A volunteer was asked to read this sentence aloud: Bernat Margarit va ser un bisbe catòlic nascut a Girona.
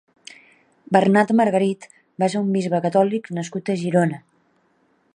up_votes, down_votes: 4, 0